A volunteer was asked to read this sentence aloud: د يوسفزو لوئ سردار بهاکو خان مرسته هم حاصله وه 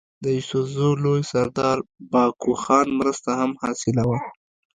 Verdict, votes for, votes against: accepted, 2, 0